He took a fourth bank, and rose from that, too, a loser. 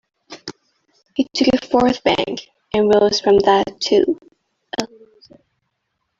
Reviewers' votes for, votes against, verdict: 0, 2, rejected